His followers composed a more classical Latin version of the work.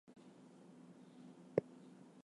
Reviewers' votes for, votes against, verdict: 0, 4, rejected